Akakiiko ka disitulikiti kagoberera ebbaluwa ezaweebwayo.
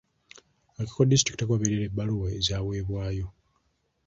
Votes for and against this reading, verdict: 0, 2, rejected